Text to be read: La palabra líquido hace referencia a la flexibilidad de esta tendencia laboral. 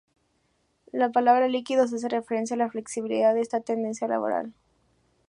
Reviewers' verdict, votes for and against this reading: accepted, 2, 0